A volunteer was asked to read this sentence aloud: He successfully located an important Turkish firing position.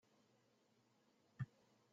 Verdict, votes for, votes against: rejected, 0, 2